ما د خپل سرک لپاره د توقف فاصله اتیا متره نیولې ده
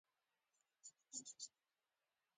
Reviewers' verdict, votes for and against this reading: rejected, 1, 2